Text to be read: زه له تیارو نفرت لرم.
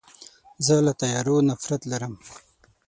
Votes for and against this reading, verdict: 0, 6, rejected